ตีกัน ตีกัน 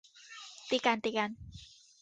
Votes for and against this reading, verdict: 2, 0, accepted